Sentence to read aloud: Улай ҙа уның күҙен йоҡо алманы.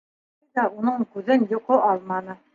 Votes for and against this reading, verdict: 1, 2, rejected